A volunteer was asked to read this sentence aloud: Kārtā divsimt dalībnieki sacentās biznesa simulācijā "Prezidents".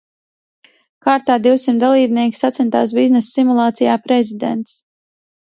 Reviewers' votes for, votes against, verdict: 2, 0, accepted